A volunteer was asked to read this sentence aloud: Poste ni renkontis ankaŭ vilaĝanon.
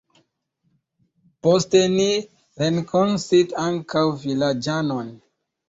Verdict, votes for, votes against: rejected, 1, 2